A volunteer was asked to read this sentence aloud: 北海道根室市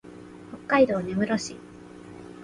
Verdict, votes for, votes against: accepted, 2, 0